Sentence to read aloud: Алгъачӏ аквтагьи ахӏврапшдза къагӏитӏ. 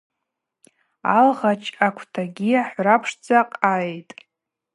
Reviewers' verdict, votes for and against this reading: accepted, 4, 0